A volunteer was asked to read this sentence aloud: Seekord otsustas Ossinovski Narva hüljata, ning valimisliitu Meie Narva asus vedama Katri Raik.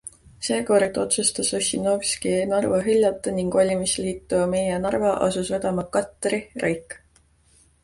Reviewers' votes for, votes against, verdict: 2, 0, accepted